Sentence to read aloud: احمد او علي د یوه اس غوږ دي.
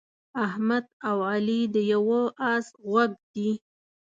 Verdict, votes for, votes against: accepted, 2, 0